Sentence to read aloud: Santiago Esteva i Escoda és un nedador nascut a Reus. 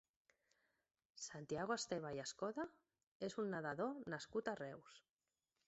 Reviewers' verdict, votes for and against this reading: accepted, 2, 0